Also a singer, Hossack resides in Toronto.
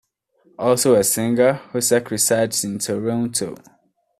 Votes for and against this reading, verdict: 2, 0, accepted